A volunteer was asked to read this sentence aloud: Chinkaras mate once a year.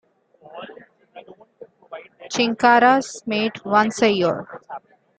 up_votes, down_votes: 3, 1